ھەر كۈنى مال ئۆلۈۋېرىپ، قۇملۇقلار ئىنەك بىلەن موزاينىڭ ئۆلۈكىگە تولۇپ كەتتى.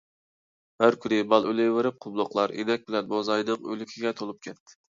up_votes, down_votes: 2, 0